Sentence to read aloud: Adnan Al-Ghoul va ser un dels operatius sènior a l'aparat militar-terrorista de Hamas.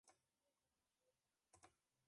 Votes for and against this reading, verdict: 0, 2, rejected